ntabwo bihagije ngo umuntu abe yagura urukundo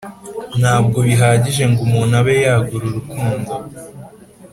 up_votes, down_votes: 2, 0